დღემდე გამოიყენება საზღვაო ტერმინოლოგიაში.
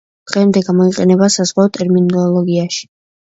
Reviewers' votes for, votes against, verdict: 2, 0, accepted